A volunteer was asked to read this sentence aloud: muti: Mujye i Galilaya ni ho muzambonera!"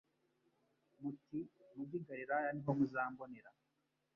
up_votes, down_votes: 1, 2